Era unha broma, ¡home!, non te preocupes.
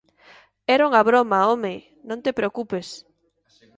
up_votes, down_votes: 2, 0